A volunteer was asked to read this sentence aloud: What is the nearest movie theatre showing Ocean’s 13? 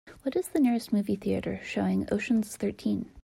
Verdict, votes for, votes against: rejected, 0, 2